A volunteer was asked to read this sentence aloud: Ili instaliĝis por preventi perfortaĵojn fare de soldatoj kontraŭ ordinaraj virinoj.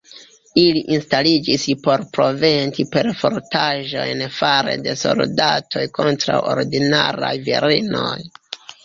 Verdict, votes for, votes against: rejected, 0, 3